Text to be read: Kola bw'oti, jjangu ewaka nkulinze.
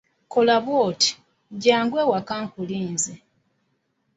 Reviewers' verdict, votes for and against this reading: accepted, 2, 0